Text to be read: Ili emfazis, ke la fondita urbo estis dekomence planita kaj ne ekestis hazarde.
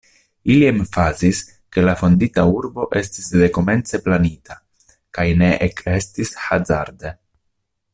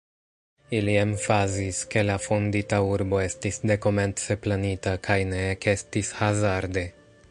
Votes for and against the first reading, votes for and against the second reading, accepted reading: 2, 1, 0, 2, first